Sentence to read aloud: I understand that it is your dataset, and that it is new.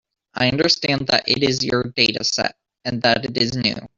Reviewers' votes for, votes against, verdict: 2, 0, accepted